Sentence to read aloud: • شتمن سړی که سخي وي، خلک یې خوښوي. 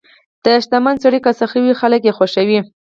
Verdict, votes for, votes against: rejected, 2, 4